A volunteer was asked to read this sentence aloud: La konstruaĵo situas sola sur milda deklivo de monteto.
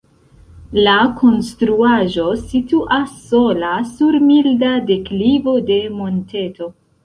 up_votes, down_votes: 2, 1